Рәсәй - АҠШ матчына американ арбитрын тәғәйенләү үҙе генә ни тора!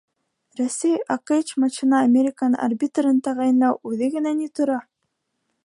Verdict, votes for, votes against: rejected, 1, 2